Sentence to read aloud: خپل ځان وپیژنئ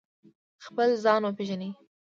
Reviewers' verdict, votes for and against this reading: accepted, 2, 0